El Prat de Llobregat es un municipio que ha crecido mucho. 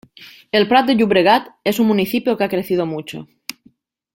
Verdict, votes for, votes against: accepted, 2, 0